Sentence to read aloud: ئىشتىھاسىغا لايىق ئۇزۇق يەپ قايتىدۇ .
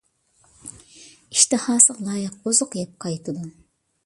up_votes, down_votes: 2, 1